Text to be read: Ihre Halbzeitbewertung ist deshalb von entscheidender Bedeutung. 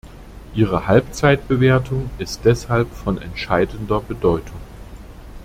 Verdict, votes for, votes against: accepted, 2, 0